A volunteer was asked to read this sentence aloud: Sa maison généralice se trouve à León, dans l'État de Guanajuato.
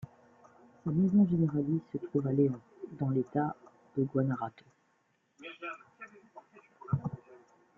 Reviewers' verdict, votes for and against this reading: rejected, 0, 2